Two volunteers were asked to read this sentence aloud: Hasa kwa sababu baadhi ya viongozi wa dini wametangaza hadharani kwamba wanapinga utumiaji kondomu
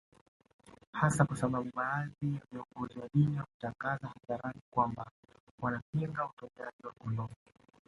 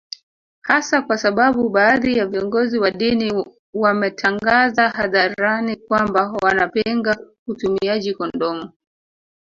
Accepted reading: first